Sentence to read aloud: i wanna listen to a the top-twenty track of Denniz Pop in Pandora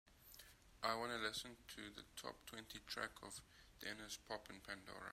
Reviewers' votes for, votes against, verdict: 1, 2, rejected